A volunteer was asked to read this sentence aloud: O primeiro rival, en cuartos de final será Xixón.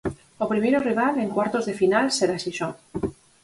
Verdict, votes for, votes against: accepted, 4, 0